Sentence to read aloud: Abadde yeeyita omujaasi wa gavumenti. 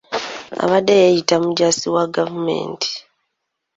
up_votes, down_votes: 0, 2